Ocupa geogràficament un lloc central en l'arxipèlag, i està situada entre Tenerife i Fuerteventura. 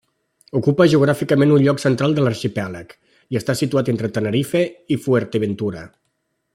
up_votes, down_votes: 1, 2